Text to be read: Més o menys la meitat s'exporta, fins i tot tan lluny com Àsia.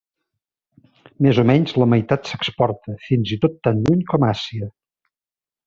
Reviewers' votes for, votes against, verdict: 2, 0, accepted